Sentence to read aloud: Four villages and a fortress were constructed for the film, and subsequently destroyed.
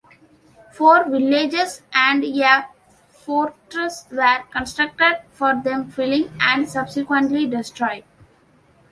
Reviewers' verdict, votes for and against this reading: rejected, 1, 2